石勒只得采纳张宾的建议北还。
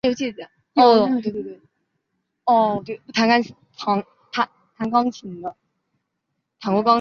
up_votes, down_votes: 0, 3